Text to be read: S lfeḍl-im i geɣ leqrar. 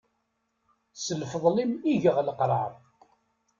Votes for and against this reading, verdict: 2, 0, accepted